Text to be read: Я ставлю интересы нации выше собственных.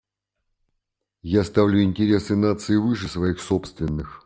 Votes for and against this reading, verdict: 0, 2, rejected